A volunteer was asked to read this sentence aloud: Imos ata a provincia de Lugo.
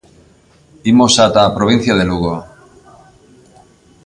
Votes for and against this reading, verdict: 2, 0, accepted